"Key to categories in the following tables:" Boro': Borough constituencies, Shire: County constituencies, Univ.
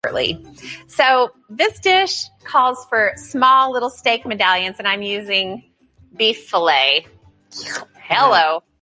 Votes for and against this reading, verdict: 0, 2, rejected